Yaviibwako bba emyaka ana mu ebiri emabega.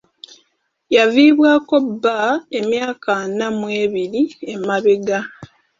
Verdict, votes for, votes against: accepted, 2, 0